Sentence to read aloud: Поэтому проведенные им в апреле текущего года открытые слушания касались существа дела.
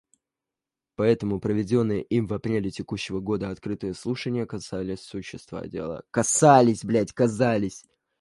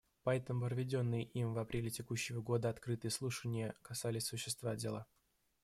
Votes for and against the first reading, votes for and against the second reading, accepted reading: 1, 2, 2, 0, second